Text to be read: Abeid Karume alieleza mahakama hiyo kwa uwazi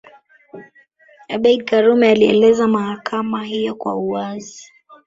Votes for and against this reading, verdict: 2, 1, accepted